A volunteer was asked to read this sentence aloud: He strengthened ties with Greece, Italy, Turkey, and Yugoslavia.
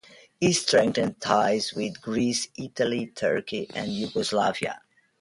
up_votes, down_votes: 0, 2